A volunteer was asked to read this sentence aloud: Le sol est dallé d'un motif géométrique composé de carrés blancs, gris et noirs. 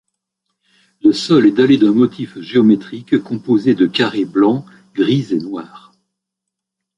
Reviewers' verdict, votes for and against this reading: accepted, 2, 0